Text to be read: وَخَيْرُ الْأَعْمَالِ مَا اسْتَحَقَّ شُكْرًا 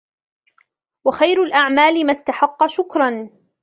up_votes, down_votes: 2, 0